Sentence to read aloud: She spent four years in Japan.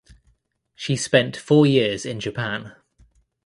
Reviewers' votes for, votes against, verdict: 2, 0, accepted